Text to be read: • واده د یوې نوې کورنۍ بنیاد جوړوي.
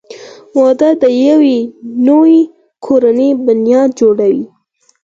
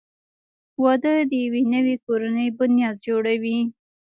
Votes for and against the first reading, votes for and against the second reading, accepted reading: 0, 4, 2, 0, second